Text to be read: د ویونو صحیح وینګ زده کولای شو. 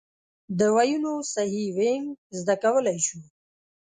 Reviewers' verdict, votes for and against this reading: accepted, 2, 0